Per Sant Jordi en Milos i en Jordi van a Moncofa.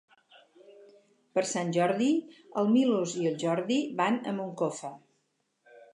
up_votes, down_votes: 0, 4